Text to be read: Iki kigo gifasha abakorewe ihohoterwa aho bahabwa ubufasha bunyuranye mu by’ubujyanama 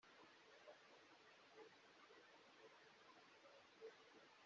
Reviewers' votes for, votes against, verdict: 0, 2, rejected